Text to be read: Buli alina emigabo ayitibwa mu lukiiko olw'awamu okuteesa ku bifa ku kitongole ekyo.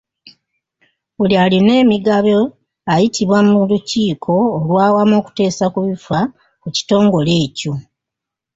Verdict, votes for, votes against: accepted, 2, 0